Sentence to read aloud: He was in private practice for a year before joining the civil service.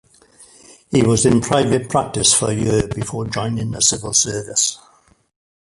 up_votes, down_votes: 1, 2